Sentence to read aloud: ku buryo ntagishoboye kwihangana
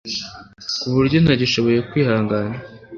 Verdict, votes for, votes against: accepted, 2, 0